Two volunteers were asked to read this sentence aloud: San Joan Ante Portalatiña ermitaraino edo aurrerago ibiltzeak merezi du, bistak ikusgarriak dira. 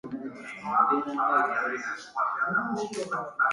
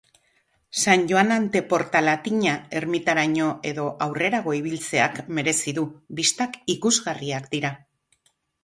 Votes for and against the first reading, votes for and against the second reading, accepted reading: 0, 2, 4, 0, second